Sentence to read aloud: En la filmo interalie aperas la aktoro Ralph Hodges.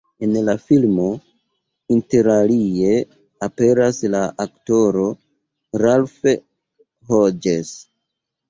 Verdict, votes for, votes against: accepted, 2, 1